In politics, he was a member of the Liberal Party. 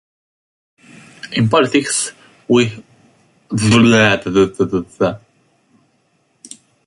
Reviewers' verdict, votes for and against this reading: rejected, 0, 2